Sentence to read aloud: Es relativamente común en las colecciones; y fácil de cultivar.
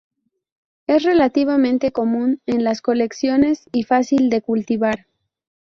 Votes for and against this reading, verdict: 2, 0, accepted